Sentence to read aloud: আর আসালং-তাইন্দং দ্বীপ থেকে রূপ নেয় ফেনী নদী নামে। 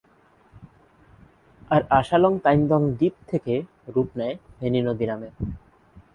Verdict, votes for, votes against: accepted, 3, 0